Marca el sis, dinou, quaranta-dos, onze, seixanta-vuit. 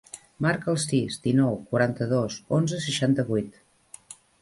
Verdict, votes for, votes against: accepted, 3, 0